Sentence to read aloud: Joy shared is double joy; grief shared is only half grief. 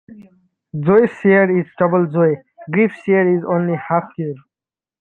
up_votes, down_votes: 0, 2